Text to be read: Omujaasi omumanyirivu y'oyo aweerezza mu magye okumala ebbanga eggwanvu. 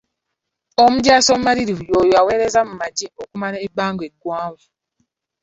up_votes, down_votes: 0, 2